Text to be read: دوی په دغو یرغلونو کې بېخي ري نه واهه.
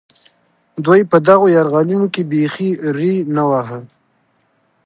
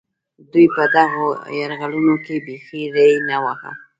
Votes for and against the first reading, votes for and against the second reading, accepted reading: 2, 0, 1, 2, first